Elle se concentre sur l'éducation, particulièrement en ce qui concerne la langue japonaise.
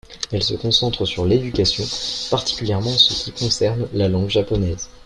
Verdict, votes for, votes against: accepted, 2, 0